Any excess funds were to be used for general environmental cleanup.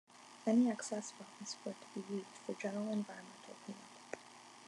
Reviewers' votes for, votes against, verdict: 2, 1, accepted